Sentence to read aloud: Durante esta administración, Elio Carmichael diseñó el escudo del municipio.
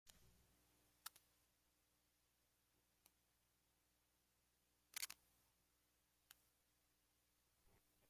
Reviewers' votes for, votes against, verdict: 0, 2, rejected